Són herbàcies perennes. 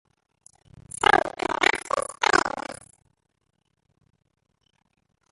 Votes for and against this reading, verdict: 0, 2, rejected